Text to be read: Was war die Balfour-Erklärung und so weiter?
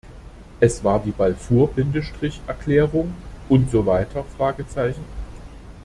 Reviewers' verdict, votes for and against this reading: rejected, 1, 2